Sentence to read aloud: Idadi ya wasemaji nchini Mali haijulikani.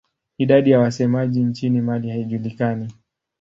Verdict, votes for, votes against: accepted, 2, 0